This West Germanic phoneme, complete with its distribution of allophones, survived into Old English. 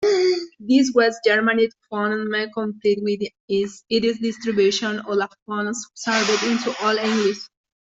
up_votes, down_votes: 0, 2